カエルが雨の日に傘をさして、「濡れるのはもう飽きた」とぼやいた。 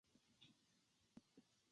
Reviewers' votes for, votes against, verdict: 0, 2, rejected